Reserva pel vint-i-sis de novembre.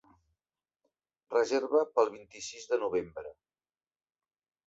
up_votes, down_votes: 3, 0